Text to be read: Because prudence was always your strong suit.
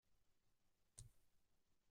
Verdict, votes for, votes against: rejected, 0, 2